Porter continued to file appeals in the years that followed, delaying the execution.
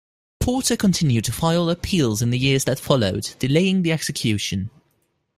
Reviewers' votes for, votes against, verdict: 2, 0, accepted